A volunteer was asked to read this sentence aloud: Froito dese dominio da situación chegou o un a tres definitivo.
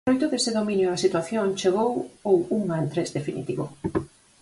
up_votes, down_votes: 0, 4